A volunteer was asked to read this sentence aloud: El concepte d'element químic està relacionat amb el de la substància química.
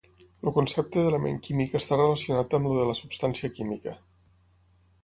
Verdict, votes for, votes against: rejected, 3, 6